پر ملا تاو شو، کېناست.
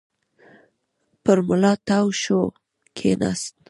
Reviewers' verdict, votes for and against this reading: rejected, 1, 2